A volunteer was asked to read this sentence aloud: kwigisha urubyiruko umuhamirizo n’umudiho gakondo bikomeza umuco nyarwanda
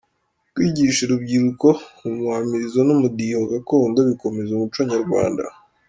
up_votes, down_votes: 2, 0